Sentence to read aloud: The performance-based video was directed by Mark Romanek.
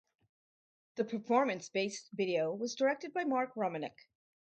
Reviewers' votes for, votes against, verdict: 2, 0, accepted